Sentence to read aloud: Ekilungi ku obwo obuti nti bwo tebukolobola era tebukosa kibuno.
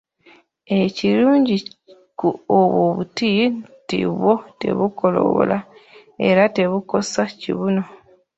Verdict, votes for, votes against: rejected, 1, 2